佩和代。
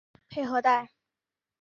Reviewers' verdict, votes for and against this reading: accepted, 4, 0